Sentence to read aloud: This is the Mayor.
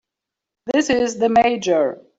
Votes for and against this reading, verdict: 0, 3, rejected